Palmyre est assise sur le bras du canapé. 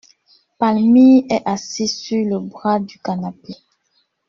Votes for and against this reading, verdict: 1, 2, rejected